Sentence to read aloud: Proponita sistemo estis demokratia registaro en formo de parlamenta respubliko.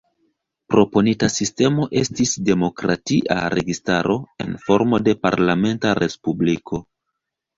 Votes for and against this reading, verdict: 0, 2, rejected